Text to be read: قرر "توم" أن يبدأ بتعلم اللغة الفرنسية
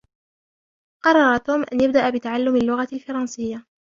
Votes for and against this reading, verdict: 0, 2, rejected